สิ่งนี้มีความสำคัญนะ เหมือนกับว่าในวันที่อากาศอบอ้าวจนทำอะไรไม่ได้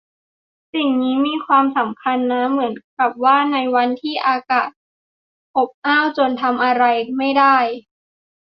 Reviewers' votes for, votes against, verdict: 2, 0, accepted